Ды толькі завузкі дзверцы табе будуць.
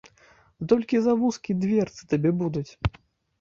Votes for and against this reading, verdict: 0, 2, rejected